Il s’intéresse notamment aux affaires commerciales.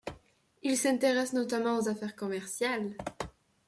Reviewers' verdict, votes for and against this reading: accepted, 2, 1